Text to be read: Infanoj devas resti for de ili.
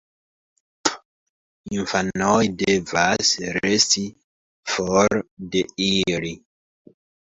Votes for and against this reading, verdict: 1, 2, rejected